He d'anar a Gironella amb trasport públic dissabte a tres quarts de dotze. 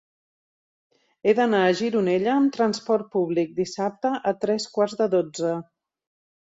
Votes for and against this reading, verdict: 3, 0, accepted